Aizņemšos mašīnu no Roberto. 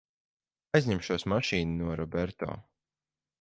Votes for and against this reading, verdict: 4, 0, accepted